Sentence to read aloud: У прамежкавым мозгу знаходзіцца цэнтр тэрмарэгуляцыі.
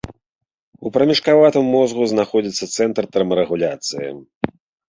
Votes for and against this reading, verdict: 0, 2, rejected